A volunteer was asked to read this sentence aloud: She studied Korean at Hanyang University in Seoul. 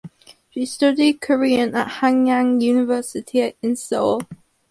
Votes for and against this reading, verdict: 4, 0, accepted